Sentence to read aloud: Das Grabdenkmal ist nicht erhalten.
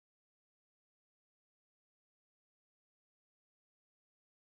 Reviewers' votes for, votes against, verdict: 0, 2, rejected